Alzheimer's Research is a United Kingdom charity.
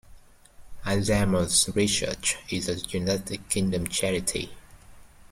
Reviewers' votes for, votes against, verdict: 1, 2, rejected